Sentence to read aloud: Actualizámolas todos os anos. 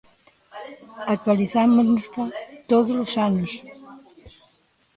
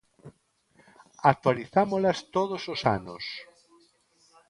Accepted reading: second